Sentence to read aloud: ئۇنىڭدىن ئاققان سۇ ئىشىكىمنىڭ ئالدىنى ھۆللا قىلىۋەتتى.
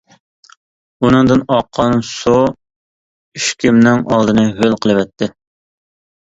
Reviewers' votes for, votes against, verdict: 0, 2, rejected